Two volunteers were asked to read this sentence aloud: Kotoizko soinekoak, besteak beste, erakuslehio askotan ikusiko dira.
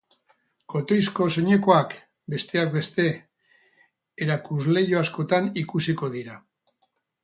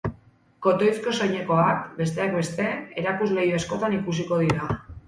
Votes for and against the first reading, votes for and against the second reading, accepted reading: 0, 2, 4, 0, second